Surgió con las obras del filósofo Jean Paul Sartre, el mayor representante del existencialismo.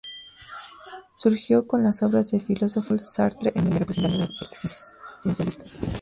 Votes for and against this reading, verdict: 0, 2, rejected